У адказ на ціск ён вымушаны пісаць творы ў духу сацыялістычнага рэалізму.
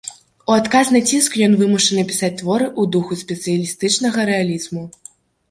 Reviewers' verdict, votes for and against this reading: rejected, 0, 2